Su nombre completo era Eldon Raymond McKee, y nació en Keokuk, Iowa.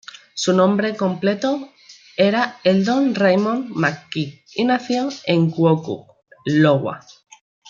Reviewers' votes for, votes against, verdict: 0, 2, rejected